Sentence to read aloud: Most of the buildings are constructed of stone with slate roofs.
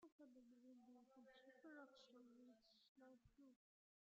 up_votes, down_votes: 0, 2